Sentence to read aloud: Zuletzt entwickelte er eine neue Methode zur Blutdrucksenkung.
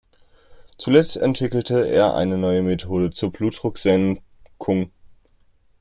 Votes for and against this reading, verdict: 0, 2, rejected